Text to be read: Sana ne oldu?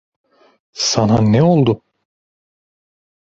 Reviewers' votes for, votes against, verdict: 2, 0, accepted